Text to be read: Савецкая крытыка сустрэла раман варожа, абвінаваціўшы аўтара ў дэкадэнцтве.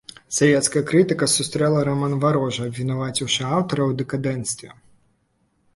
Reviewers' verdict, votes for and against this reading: accepted, 2, 0